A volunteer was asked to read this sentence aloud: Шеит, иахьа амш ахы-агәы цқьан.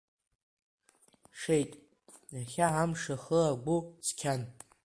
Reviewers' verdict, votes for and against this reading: accepted, 2, 0